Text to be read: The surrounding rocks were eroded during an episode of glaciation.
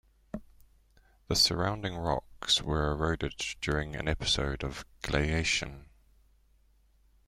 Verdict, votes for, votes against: rejected, 0, 2